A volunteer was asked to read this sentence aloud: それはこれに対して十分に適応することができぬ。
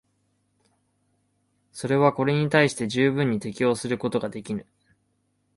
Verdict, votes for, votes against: accepted, 2, 0